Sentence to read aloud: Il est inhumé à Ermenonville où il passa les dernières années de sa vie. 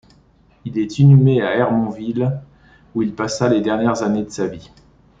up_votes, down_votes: 0, 2